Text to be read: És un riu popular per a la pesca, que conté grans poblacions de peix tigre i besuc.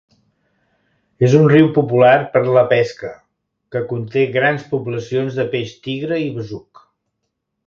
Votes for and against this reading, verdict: 1, 2, rejected